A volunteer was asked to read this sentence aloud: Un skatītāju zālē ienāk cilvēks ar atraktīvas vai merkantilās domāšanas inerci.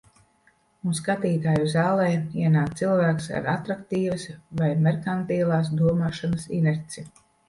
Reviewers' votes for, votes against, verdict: 2, 0, accepted